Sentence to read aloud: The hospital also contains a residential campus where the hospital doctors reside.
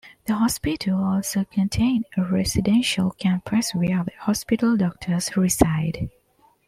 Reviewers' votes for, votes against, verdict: 0, 2, rejected